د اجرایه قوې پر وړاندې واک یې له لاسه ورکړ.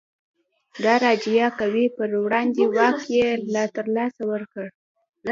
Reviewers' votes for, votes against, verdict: 1, 2, rejected